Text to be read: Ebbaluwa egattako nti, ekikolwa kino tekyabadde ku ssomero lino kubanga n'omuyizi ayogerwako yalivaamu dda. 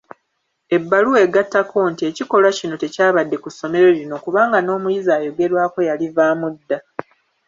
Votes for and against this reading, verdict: 2, 1, accepted